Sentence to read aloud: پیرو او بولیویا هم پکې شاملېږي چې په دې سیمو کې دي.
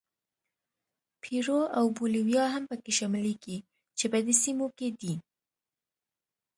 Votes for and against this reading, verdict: 2, 0, accepted